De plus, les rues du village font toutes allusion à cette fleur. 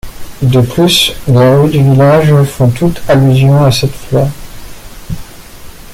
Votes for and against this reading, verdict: 1, 2, rejected